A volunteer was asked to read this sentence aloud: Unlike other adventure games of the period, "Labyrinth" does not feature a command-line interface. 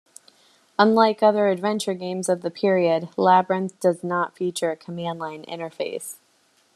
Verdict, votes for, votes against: accepted, 2, 0